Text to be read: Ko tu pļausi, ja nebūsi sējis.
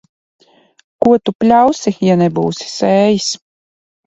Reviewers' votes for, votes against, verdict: 3, 0, accepted